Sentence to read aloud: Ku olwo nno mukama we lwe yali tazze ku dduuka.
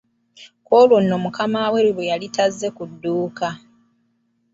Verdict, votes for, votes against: accepted, 2, 0